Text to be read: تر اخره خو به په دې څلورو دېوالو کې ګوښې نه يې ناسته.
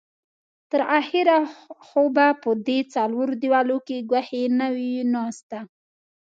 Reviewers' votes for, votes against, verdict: 1, 2, rejected